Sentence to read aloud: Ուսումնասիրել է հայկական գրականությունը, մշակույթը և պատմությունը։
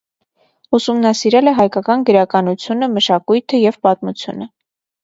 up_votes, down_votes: 2, 0